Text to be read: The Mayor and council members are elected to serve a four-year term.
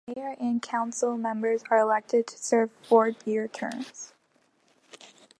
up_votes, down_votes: 2, 0